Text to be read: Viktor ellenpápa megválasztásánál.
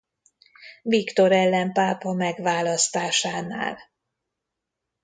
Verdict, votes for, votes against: accepted, 2, 0